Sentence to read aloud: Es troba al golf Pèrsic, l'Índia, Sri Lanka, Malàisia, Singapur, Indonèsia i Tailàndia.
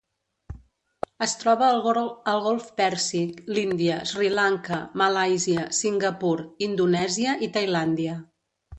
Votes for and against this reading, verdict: 1, 2, rejected